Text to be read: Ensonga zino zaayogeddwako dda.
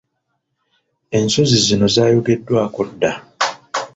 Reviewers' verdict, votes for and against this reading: rejected, 0, 2